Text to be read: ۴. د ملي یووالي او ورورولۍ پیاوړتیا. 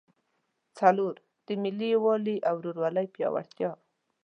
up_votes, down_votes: 0, 2